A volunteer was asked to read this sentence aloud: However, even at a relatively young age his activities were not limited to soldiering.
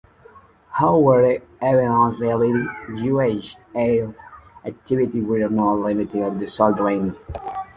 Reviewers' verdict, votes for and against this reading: rejected, 0, 2